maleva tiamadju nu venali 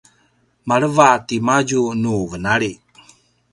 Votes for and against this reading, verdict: 1, 2, rejected